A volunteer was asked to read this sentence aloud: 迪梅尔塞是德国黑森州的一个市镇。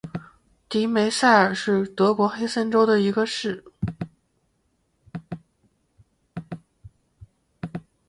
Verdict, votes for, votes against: rejected, 0, 2